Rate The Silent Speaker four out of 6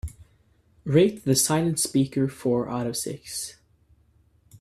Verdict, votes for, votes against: rejected, 0, 2